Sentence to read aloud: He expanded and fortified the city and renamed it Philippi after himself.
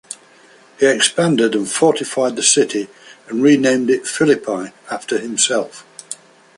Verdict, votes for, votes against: accepted, 2, 0